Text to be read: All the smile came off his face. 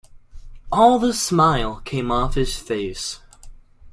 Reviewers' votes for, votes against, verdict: 2, 0, accepted